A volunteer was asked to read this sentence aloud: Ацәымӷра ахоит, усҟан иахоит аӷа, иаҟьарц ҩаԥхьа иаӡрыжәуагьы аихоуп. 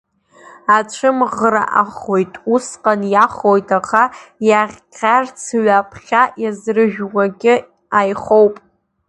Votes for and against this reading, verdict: 0, 2, rejected